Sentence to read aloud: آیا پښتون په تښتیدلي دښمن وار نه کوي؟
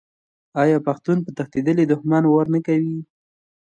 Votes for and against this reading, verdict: 2, 0, accepted